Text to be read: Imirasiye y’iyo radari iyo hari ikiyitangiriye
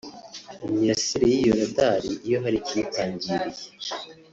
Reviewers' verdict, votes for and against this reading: rejected, 0, 2